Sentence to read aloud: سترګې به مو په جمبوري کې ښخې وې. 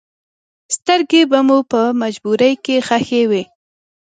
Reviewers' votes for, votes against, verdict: 3, 0, accepted